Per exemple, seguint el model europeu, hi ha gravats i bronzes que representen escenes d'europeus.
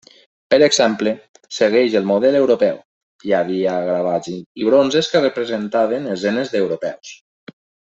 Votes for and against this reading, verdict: 0, 2, rejected